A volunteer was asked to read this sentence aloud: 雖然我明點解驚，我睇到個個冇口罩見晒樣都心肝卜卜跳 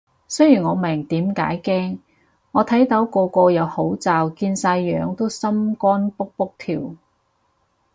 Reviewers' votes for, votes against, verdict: 0, 4, rejected